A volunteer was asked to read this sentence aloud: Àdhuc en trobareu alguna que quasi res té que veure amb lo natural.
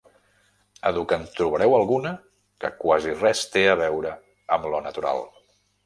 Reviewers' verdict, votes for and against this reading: rejected, 1, 2